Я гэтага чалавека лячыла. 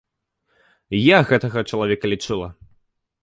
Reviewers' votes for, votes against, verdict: 2, 1, accepted